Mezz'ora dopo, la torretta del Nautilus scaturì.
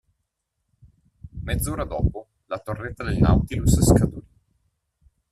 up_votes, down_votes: 1, 2